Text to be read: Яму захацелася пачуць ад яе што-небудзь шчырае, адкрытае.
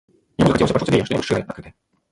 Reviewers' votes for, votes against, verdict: 0, 3, rejected